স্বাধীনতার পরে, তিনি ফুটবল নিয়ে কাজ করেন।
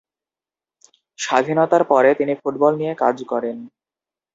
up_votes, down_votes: 2, 0